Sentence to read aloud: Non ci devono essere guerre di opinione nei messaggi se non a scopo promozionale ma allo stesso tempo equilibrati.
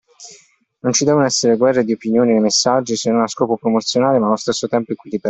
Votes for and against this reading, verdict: 0, 2, rejected